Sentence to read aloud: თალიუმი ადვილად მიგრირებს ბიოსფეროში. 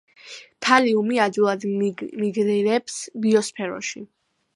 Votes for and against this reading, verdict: 2, 0, accepted